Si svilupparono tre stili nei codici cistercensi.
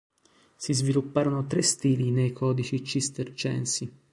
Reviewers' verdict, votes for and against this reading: accepted, 2, 0